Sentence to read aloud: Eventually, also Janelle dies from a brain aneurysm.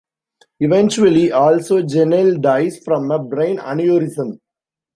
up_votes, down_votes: 2, 1